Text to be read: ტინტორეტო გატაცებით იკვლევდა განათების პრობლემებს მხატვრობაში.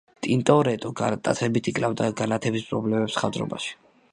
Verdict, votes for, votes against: rejected, 0, 2